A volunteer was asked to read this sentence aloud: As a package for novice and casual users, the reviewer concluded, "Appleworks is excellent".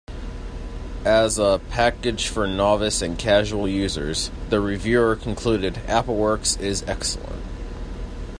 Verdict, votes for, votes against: accepted, 2, 0